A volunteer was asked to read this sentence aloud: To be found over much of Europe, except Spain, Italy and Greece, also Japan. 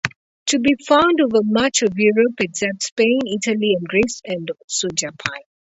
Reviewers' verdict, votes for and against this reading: rejected, 0, 2